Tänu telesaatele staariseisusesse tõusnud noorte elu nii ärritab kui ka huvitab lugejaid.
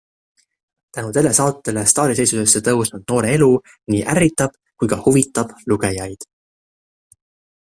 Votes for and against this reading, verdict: 0, 2, rejected